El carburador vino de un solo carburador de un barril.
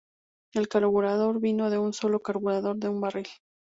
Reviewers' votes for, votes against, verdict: 2, 0, accepted